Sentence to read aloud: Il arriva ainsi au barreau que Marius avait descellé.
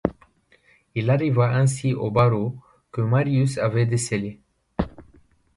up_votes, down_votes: 2, 0